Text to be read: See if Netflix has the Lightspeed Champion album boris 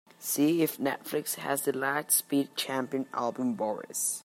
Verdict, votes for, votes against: accepted, 2, 0